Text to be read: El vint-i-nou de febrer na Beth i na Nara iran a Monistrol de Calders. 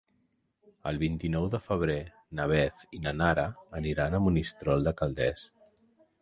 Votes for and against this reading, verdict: 0, 2, rejected